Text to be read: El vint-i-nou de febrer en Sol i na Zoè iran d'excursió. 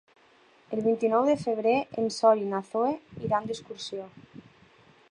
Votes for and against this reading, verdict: 4, 2, accepted